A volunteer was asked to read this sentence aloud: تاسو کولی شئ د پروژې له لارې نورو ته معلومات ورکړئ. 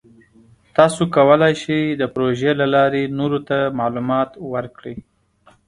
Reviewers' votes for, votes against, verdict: 2, 0, accepted